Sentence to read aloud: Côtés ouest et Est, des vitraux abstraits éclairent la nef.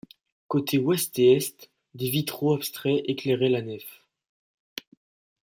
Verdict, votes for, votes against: rejected, 0, 2